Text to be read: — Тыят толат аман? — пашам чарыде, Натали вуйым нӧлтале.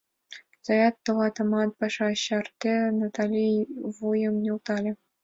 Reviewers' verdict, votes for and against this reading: rejected, 1, 2